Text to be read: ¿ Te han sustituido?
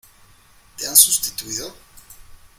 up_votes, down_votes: 2, 1